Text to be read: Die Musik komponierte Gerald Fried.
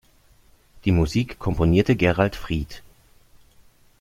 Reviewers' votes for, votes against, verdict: 2, 0, accepted